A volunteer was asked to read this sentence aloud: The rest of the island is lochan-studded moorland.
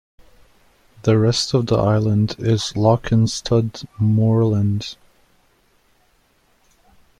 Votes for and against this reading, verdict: 0, 2, rejected